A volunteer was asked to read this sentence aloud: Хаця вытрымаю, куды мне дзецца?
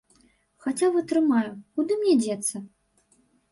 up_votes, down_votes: 2, 3